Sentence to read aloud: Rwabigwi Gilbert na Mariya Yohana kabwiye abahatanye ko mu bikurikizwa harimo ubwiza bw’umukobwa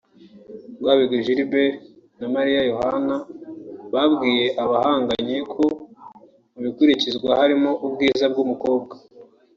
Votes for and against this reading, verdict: 0, 2, rejected